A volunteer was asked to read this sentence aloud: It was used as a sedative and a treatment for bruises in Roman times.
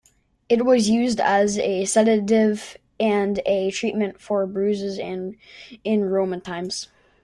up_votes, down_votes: 0, 2